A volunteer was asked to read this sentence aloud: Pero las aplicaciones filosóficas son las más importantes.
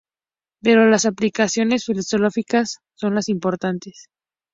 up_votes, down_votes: 2, 0